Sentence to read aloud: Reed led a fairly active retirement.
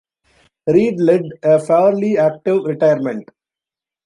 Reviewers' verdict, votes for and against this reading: accepted, 2, 0